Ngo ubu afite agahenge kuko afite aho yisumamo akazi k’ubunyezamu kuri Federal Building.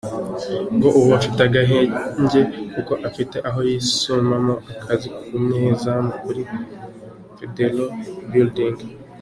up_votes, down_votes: 2, 0